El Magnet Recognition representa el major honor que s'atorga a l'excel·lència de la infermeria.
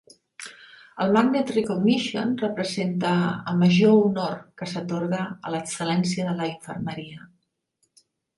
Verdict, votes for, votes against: accepted, 3, 0